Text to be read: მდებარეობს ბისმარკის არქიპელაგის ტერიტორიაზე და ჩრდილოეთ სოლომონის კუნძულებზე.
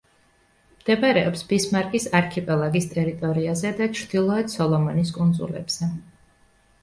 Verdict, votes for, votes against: accepted, 2, 0